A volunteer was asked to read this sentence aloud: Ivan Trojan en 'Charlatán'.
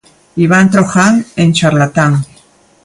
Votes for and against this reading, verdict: 2, 0, accepted